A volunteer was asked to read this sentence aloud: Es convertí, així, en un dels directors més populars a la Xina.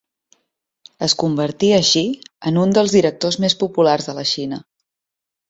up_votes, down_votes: 1, 2